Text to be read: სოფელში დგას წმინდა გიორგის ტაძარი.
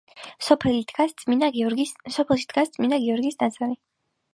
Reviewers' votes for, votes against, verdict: 1, 3, rejected